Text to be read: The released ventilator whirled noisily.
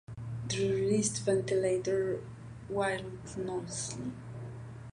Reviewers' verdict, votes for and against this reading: rejected, 0, 2